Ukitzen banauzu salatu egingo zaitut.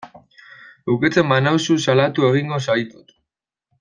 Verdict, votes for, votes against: rejected, 1, 2